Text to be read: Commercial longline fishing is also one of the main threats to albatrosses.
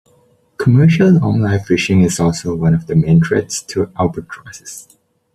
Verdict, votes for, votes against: accepted, 2, 0